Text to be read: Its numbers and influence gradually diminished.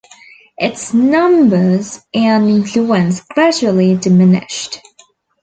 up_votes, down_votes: 2, 0